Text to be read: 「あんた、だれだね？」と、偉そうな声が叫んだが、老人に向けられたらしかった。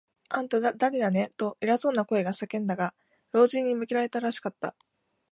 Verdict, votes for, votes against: rejected, 0, 2